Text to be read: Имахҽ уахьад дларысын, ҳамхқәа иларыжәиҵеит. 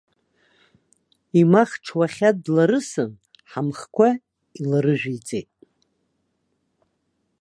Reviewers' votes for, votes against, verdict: 2, 0, accepted